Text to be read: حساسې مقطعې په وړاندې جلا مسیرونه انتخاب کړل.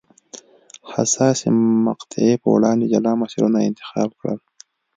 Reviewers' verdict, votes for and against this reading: accepted, 2, 0